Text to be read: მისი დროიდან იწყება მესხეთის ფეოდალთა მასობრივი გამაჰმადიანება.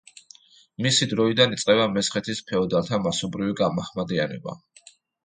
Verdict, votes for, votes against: accepted, 2, 0